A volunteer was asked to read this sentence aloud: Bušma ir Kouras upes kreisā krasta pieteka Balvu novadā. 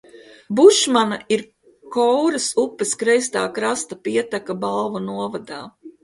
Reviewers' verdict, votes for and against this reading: rejected, 1, 2